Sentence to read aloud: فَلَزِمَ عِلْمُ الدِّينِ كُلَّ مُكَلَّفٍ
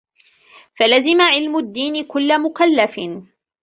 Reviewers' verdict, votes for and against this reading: rejected, 1, 2